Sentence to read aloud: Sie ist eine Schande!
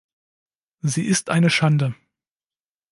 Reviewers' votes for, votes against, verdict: 2, 0, accepted